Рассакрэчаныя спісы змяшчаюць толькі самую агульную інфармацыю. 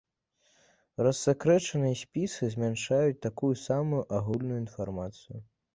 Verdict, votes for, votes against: rejected, 1, 2